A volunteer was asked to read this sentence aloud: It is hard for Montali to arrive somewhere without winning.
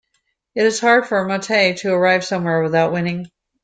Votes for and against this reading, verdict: 2, 0, accepted